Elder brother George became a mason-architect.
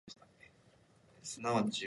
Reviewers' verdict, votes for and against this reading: rejected, 0, 2